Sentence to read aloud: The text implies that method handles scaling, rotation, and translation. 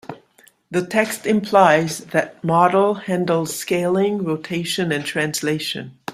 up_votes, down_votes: 0, 2